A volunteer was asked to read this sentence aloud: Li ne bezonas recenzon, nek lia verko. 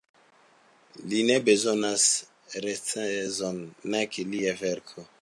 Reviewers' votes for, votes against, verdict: 2, 0, accepted